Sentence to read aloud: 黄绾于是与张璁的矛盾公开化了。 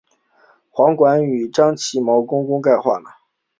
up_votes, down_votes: 1, 2